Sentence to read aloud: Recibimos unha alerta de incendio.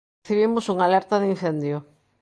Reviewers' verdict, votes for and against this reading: rejected, 0, 2